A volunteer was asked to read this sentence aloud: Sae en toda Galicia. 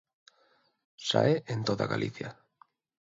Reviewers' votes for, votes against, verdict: 2, 0, accepted